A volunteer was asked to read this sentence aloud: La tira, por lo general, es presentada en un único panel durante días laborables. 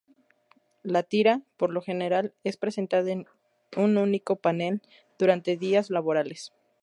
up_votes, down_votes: 0, 2